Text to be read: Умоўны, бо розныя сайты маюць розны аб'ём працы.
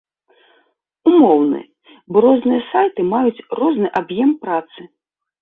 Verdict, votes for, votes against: rejected, 1, 2